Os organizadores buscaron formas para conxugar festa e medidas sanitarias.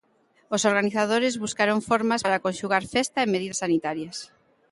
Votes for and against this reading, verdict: 2, 0, accepted